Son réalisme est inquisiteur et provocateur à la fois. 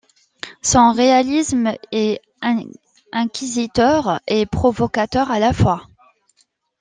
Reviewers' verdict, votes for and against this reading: rejected, 1, 2